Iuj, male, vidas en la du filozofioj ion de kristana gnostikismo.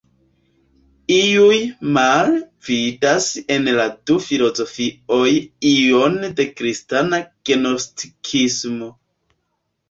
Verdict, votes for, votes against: rejected, 1, 2